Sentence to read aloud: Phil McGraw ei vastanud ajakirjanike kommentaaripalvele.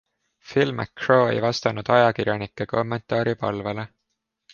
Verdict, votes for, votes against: accepted, 2, 0